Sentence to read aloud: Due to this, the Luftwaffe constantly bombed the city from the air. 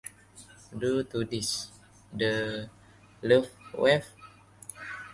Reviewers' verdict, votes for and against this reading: rejected, 0, 2